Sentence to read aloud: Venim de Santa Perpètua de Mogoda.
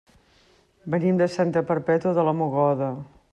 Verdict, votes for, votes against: rejected, 0, 2